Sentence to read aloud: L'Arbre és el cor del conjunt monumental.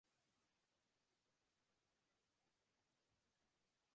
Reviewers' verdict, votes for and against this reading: rejected, 0, 2